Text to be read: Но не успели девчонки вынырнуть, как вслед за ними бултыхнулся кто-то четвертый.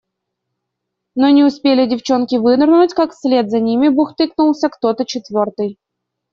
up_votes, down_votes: 1, 2